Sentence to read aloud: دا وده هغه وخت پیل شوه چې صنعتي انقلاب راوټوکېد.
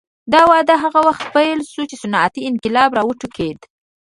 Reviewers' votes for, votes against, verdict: 0, 2, rejected